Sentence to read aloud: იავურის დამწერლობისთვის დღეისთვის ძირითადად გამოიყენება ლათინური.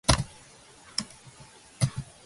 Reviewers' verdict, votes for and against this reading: rejected, 0, 2